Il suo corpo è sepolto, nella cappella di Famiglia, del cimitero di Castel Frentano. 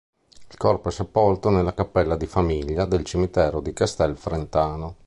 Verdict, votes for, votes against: rejected, 1, 2